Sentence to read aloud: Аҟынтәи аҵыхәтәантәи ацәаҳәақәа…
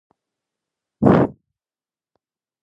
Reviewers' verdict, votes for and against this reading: rejected, 1, 2